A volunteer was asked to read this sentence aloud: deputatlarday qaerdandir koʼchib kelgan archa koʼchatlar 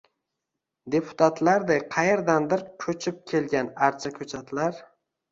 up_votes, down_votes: 2, 0